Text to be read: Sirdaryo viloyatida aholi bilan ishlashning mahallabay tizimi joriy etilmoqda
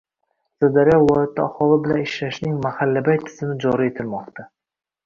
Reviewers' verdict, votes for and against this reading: accepted, 2, 0